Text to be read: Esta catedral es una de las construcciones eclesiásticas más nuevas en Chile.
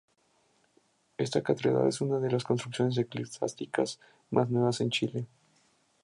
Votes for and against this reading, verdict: 2, 0, accepted